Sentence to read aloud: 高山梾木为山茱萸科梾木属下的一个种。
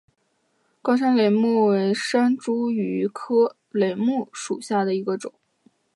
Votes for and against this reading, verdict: 3, 0, accepted